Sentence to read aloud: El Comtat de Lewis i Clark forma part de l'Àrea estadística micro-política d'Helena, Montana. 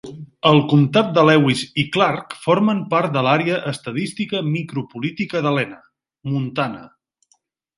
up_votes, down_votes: 2, 0